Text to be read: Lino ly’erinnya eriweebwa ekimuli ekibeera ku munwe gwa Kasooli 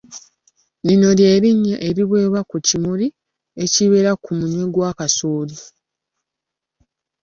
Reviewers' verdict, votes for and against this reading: rejected, 0, 2